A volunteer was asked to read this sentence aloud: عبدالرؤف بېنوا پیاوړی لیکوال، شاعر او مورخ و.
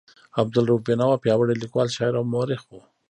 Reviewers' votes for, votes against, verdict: 2, 1, accepted